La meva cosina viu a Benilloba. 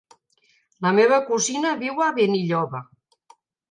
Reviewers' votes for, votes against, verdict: 4, 0, accepted